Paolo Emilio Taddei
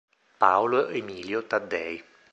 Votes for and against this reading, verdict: 2, 0, accepted